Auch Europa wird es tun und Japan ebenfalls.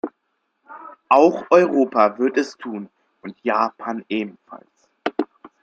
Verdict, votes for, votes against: accepted, 2, 0